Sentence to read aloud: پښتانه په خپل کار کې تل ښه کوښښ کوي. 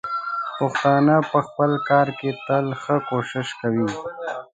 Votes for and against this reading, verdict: 1, 2, rejected